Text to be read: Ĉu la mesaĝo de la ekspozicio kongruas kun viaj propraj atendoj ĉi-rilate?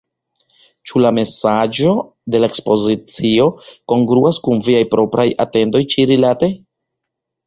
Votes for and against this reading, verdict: 2, 0, accepted